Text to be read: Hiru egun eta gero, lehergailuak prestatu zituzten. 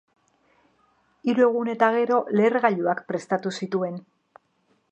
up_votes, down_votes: 0, 3